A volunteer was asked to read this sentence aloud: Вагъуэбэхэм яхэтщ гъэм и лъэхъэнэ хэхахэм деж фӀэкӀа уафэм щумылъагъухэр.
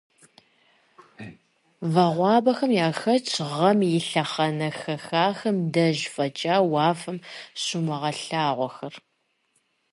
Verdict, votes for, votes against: accepted, 2, 0